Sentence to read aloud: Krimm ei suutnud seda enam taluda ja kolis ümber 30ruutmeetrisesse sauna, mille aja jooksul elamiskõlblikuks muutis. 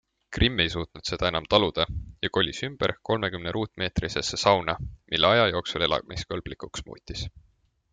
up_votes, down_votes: 0, 2